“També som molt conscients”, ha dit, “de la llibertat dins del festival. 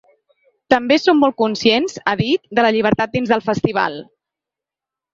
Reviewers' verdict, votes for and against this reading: accepted, 4, 0